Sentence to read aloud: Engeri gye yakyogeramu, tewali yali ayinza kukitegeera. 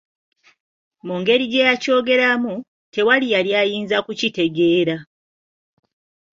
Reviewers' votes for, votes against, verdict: 0, 2, rejected